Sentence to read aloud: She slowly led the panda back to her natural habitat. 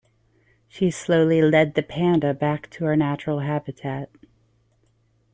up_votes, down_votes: 2, 0